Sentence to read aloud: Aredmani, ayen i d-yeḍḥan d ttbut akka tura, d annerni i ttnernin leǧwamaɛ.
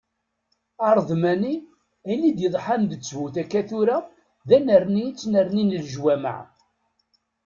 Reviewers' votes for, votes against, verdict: 2, 0, accepted